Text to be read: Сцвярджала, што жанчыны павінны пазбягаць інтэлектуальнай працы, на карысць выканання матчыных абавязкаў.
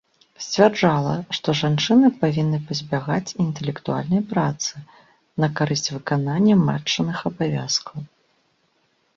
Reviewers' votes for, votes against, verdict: 2, 0, accepted